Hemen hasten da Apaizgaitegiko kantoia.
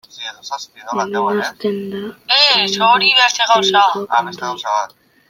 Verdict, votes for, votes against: rejected, 0, 2